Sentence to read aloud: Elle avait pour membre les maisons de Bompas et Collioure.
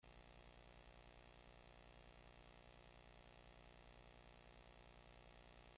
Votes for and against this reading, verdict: 0, 2, rejected